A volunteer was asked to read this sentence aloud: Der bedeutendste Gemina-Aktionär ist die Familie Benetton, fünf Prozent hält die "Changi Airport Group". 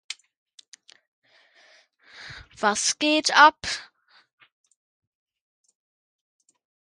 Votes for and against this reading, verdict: 0, 2, rejected